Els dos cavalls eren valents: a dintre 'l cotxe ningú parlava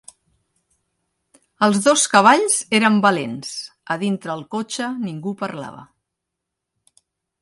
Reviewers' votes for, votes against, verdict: 2, 0, accepted